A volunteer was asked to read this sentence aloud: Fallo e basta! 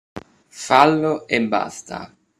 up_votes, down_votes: 2, 0